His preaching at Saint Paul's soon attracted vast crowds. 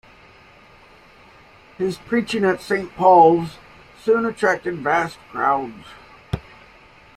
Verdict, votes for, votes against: rejected, 1, 2